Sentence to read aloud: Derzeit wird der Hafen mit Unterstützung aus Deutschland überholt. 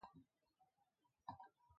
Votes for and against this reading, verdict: 0, 2, rejected